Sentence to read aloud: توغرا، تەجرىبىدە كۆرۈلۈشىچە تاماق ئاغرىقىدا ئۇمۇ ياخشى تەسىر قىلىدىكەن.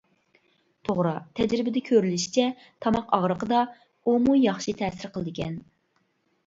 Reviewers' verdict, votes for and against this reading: accepted, 2, 0